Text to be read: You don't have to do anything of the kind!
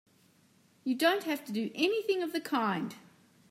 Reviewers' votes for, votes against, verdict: 3, 0, accepted